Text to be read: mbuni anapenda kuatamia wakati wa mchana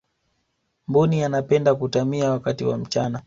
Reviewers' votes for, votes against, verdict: 3, 2, accepted